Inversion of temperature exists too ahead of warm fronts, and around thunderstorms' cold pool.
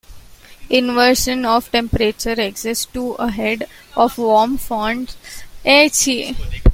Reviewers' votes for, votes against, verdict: 0, 2, rejected